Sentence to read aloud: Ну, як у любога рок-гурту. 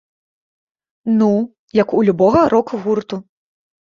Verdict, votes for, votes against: accepted, 2, 0